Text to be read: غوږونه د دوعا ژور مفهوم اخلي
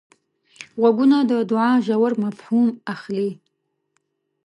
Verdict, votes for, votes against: accepted, 2, 0